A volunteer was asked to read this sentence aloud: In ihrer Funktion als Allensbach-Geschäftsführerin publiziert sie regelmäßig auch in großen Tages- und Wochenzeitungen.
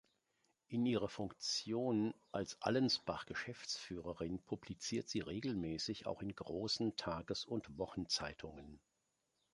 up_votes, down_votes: 3, 0